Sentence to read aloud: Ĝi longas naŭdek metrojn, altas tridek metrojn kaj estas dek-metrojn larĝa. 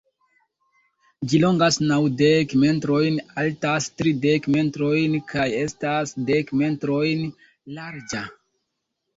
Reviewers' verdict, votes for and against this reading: rejected, 0, 2